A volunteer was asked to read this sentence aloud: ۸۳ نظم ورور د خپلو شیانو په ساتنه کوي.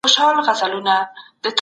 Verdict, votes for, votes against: rejected, 0, 2